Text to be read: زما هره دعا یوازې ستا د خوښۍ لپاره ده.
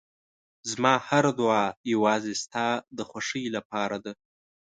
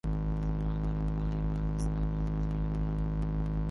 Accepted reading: first